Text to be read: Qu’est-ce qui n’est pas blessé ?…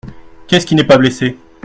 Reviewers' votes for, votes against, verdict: 2, 0, accepted